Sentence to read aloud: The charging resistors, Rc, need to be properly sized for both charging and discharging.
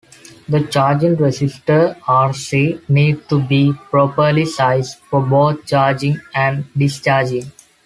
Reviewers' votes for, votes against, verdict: 0, 2, rejected